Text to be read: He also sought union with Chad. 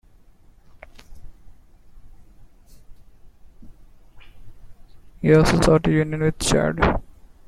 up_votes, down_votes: 0, 2